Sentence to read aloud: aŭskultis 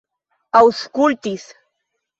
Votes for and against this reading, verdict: 2, 0, accepted